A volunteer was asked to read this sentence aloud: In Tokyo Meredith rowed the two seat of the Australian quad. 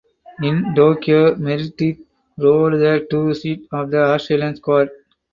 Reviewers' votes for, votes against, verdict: 0, 4, rejected